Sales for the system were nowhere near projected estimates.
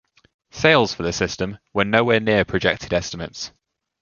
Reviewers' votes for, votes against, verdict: 2, 0, accepted